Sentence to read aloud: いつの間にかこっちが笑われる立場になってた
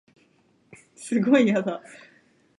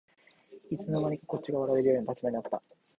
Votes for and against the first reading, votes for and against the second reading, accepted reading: 0, 2, 2, 0, second